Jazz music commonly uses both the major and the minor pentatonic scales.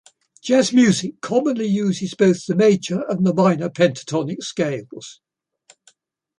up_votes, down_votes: 2, 0